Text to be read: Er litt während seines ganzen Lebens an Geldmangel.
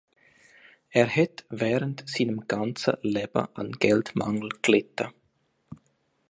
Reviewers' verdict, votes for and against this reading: rejected, 0, 2